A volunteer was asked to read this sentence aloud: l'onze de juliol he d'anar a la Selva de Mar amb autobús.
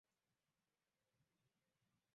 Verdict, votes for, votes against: rejected, 0, 2